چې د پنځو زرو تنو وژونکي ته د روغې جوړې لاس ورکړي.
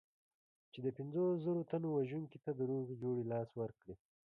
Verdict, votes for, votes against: rejected, 1, 2